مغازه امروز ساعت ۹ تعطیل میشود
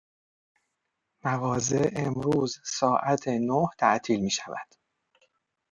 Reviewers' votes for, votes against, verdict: 0, 2, rejected